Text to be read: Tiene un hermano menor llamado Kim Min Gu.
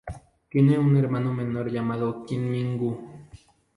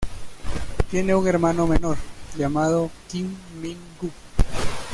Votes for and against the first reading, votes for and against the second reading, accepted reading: 2, 0, 1, 2, first